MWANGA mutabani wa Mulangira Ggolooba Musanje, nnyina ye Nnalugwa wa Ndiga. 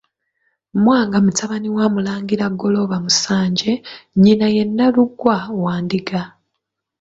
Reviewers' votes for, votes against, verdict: 2, 1, accepted